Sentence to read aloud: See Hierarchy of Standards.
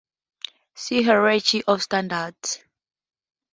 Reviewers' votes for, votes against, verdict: 2, 0, accepted